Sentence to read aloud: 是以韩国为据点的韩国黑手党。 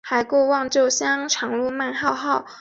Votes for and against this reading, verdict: 2, 6, rejected